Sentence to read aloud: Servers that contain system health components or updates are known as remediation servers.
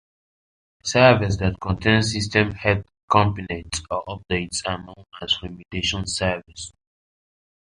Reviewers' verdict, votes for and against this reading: accepted, 2, 0